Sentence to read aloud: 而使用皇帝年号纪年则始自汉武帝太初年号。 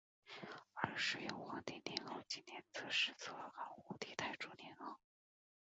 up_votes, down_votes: 0, 2